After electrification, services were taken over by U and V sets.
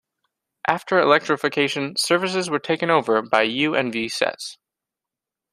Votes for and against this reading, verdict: 2, 0, accepted